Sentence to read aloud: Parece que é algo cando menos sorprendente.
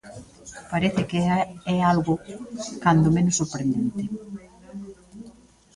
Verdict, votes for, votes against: rejected, 0, 2